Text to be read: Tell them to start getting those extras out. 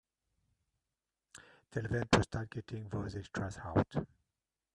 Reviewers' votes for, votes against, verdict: 1, 2, rejected